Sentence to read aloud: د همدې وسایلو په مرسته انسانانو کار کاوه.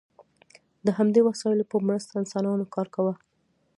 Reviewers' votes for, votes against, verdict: 1, 2, rejected